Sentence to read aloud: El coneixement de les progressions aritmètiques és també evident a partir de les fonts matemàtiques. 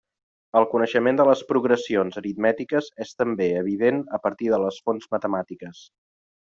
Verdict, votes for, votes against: accepted, 3, 0